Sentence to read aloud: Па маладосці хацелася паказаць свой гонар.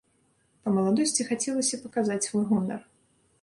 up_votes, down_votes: 2, 0